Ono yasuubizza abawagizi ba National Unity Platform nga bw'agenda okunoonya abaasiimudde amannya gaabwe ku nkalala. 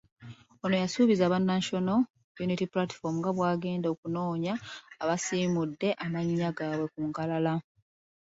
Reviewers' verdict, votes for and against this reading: rejected, 1, 2